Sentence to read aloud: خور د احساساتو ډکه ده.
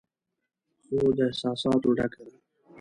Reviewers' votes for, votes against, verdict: 1, 2, rejected